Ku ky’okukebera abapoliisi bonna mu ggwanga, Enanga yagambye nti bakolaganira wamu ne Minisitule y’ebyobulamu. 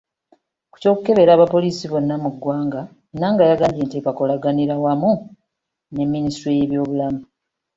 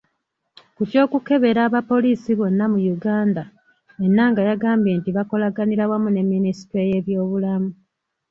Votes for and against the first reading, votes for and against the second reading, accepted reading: 2, 0, 1, 2, first